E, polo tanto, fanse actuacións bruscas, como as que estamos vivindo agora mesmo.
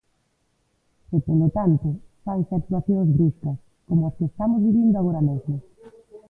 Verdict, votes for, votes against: rejected, 0, 2